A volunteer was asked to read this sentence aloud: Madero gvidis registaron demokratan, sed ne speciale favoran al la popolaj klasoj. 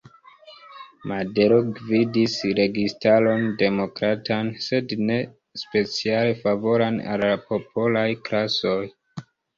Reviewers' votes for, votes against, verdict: 1, 2, rejected